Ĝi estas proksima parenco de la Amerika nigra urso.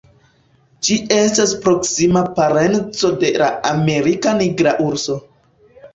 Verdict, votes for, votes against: accepted, 3, 0